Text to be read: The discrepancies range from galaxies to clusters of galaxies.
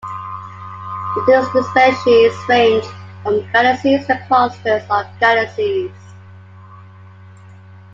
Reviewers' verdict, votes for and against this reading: rejected, 0, 2